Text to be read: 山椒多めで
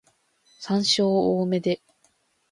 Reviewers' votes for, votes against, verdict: 2, 0, accepted